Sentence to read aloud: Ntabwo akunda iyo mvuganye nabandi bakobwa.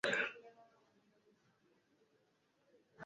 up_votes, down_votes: 0, 2